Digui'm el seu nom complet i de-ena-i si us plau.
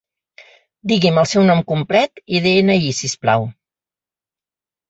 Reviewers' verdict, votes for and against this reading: accepted, 4, 1